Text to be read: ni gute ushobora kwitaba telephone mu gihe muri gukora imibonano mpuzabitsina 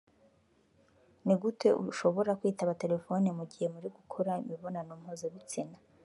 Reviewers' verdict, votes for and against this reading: rejected, 0, 2